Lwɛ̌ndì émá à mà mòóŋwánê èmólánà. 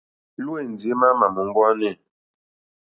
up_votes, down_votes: 1, 2